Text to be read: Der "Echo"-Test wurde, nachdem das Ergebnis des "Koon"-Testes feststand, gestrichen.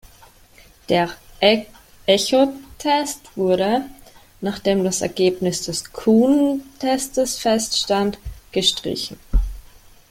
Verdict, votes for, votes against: rejected, 1, 2